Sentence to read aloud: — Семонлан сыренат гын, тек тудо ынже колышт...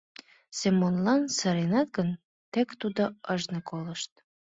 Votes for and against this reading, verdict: 1, 2, rejected